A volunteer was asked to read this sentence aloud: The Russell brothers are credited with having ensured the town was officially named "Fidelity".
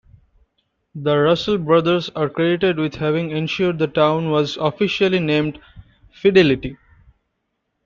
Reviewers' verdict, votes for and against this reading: accepted, 2, 1